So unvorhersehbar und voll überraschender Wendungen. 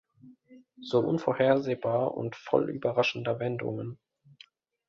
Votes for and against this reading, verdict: 2, 0, accepted